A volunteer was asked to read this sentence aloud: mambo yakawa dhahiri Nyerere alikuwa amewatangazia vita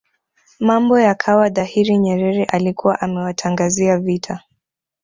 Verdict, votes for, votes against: accepted, 2, 0